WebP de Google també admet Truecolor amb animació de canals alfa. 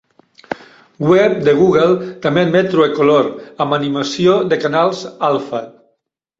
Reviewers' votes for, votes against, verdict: 0, 2, rejected